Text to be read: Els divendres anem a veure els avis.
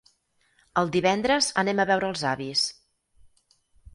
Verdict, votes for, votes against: rejected, 0, 4